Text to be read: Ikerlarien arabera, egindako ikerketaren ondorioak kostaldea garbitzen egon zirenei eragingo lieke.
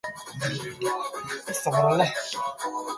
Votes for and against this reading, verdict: 0, 2, rejected